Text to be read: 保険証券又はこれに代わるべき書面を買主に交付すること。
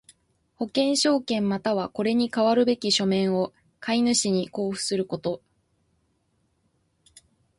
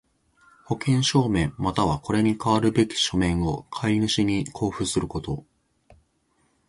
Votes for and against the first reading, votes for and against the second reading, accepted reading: 2, 1, 1, 2, first